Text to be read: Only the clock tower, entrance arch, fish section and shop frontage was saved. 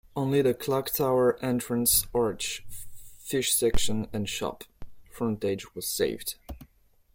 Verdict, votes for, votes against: accepted, 2, 0